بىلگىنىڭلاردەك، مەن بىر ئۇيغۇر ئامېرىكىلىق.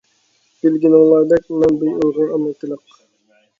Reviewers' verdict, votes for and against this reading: rejected, 1, 2